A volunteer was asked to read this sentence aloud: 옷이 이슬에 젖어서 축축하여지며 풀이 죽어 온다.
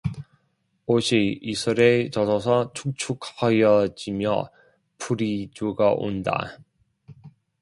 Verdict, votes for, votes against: rejected, 0, 2